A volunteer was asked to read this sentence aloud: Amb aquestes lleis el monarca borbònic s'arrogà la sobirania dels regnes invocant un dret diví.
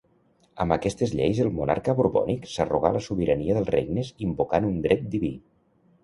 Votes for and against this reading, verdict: 2, 1, accepted